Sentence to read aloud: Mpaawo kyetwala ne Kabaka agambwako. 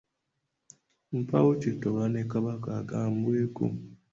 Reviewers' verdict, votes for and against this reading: rejected, 1, 2